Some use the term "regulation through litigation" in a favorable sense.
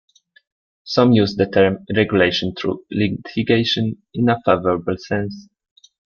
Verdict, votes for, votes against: rejected, 1, 2